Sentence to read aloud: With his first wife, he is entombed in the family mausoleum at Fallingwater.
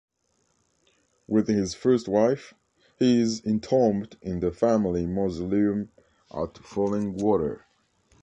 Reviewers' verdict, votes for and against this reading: accepted, 2, 1